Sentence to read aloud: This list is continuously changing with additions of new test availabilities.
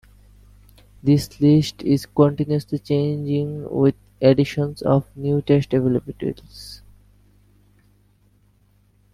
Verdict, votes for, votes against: rejected, 0, 2